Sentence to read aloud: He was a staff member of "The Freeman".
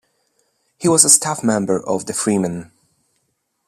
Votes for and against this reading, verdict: 2, 0, accepted